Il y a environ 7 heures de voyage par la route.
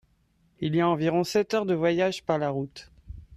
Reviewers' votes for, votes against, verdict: 0, 2, rejected